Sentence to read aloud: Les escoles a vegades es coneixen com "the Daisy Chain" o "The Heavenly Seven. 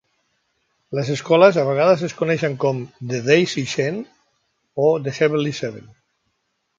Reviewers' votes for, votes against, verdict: 2, 0, accepted